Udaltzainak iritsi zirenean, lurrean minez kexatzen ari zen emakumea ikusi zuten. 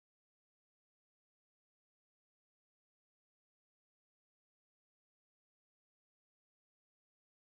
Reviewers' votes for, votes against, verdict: 0, 2, rejected